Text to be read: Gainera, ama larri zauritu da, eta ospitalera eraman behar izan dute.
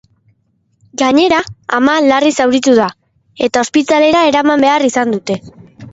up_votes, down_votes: 2, 0